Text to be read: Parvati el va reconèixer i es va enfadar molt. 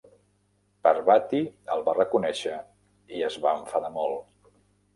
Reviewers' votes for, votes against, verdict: 3, 0, accepted